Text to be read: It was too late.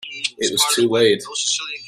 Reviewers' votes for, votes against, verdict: 0, 2, rejected